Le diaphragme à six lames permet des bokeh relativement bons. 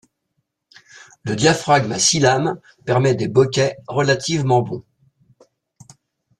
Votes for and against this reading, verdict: 2, 0, accepted